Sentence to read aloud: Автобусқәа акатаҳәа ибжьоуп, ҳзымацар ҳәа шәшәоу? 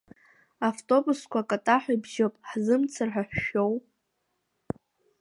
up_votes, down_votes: 3, 1